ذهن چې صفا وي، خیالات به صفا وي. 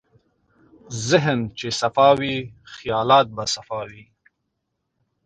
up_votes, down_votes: 2, 0